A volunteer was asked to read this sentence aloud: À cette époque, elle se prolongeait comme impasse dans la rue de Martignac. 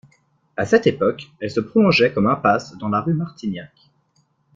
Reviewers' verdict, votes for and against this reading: accepted, 2, 0